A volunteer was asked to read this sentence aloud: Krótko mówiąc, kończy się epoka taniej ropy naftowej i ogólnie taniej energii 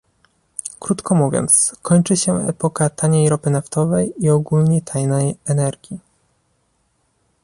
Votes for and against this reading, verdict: 1, 2, rejected